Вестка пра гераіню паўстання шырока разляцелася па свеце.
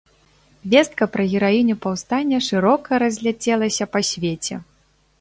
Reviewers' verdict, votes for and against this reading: accepted, 3, 0